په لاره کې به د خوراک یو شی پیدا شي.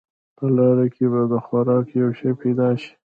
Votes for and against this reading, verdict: 1, 2, rejected